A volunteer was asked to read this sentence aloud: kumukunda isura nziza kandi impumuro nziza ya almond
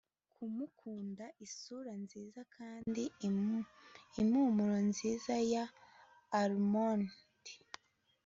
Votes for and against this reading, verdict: 2, 0, accepted